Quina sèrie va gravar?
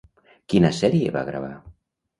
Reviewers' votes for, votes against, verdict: 2, 0, accepted